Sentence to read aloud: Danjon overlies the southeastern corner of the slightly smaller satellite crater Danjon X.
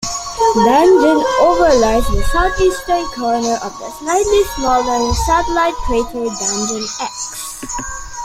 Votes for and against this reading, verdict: 1, 2, rejected